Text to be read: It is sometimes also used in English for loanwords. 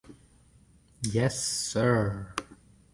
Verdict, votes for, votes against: rejected, 0, 2